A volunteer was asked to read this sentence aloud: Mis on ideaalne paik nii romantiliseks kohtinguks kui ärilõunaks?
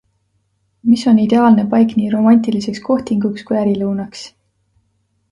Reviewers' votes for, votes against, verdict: 2, 0, accepted